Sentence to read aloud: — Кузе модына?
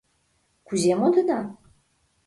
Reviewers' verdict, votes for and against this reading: accepted, 2, 0